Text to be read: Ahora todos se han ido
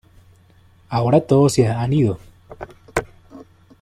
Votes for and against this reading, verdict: 2, 0, accepted